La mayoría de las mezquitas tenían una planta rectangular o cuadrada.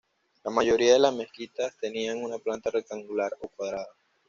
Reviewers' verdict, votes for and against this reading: accepted, 2, 0